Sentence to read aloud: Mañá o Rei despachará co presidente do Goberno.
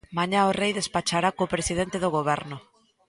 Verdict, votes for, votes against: accepted, 2, 0